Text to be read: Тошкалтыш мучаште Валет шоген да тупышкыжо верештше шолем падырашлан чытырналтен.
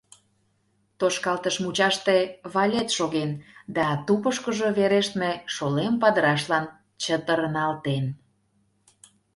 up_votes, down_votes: 0, 2